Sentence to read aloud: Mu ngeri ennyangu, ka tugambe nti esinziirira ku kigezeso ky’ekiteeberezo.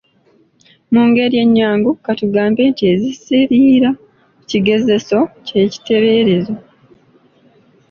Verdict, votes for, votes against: rejected, 1, 2